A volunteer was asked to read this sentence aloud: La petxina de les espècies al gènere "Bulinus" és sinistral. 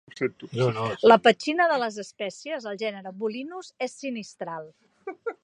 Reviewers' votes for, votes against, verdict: 1, 2, rejected